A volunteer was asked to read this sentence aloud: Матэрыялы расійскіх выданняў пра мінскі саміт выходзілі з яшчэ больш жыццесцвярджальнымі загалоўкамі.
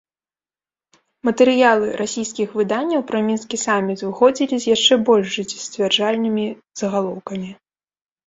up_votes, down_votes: 1, 2